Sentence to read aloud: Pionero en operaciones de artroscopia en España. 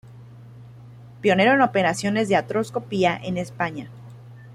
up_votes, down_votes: 0, 2